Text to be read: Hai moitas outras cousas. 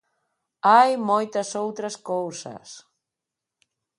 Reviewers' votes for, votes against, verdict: 2, 0, accepted